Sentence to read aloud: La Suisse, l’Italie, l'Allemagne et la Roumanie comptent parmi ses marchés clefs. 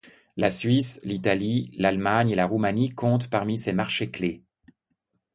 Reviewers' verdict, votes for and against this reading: accepted, 2, 0